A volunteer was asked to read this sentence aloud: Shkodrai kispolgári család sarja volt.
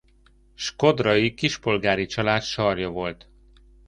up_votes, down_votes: 2, 0